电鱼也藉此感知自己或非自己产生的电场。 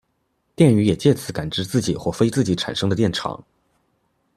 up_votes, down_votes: 2, 0